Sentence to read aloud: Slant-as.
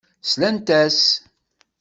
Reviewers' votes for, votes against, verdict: 2, 0, accepted